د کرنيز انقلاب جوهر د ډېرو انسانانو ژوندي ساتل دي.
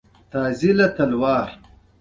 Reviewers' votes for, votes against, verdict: 2, 0, accepted